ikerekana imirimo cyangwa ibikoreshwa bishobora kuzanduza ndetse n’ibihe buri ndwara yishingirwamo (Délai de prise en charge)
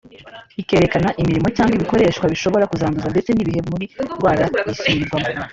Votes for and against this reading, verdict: 1, 2, rejected